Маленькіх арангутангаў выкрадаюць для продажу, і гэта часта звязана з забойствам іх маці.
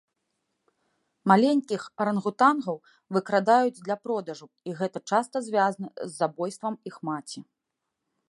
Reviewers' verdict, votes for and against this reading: rejected, 1, 2